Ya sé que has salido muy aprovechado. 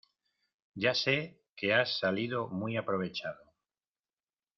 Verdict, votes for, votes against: accepted, 2, 0